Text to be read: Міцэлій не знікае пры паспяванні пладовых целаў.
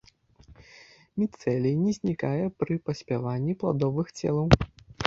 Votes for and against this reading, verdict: 0, 2, rejected